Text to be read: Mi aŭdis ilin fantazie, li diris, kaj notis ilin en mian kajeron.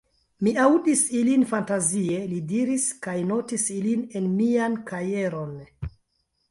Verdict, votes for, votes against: accepted, 2, 1